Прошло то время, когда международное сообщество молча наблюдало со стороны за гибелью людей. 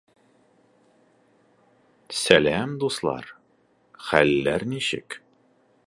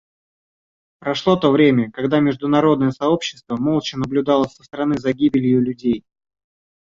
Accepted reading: second